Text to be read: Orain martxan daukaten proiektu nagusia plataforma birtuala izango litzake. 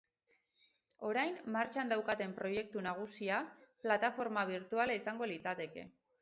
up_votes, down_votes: 4, 4